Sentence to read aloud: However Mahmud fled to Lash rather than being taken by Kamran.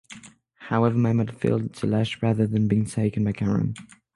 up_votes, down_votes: 3, 6